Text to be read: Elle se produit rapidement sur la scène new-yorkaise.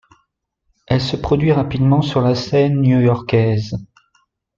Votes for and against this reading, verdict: 2, 0, accepted